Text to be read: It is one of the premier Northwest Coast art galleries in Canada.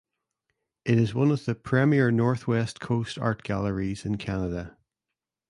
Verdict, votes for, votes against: accepted, 2, 0